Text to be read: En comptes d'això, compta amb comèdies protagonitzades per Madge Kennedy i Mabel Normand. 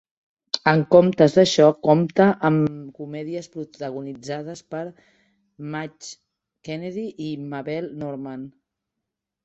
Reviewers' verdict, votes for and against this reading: rejected, 2, 3